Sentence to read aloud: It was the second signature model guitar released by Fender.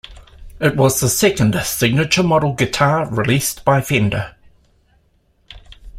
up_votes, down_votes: 2, 0